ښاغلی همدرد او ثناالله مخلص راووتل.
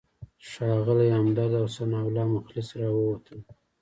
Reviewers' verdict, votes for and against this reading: accepted, 2, 0